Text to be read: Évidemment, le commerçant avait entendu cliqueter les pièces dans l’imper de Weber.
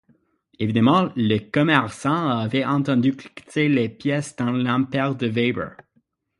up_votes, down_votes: 6, 0